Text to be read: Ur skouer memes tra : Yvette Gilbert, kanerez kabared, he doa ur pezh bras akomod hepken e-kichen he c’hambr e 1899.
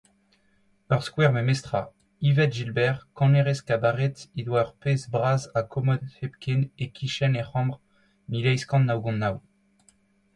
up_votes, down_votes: 0, 2